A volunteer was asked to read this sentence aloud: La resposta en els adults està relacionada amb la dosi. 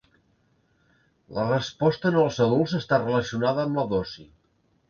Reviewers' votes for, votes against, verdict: 2, 0, accepted